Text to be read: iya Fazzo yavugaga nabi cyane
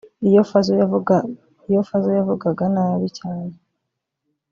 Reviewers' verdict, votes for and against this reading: rejected, 0, 2